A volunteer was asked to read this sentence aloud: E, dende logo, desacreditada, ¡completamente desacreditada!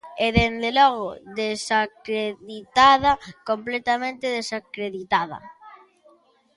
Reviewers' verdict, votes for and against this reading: accepted, 2, 0